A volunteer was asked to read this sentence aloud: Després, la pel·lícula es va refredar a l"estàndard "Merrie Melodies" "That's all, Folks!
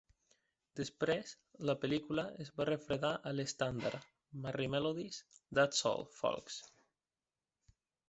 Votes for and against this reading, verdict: 0, 2, rejected